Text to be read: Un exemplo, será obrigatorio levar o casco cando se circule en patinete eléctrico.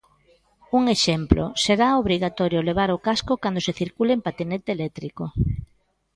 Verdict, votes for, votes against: accepted, 2, 0